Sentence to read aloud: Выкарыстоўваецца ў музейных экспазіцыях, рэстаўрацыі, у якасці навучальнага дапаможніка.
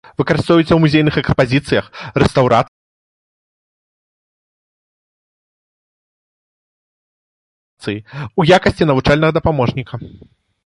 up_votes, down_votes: 0, 2